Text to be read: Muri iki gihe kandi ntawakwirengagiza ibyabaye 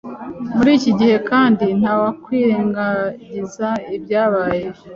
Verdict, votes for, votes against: accepted, 2, 0